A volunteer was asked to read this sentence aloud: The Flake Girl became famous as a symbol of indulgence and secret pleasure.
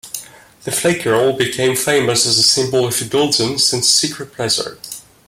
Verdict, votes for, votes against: accepted, 2, 0